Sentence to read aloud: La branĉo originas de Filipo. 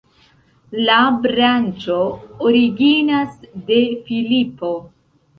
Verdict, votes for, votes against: rejected, 1, 2